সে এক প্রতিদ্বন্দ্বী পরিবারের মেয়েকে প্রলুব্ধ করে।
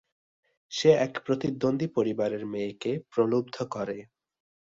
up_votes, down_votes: 2, 0